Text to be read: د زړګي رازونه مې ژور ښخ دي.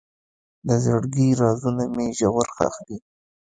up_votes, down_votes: 2, 1